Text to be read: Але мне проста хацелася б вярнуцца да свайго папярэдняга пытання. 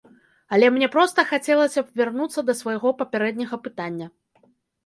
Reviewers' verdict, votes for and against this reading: accepted, 2, 0